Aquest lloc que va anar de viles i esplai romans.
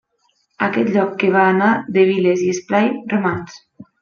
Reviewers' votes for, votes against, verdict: 4, 0, accepted